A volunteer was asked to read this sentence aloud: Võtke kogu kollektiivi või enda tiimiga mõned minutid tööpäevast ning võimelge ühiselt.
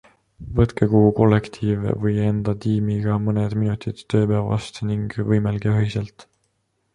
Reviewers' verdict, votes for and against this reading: accepted, 2, 0